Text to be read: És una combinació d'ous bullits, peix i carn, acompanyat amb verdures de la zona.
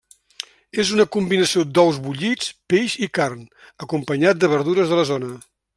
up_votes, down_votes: 0, 2